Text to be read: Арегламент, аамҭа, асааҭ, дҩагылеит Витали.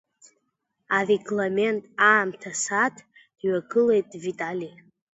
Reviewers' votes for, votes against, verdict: 2, 0, accepted